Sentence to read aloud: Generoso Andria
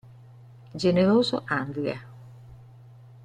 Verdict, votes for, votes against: accepted, 2, 0